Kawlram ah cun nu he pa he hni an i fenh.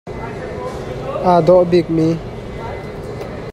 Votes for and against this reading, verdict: 0, 2, rejected